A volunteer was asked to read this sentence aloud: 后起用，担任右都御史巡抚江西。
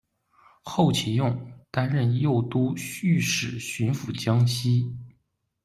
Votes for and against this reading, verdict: 1, 2, rejected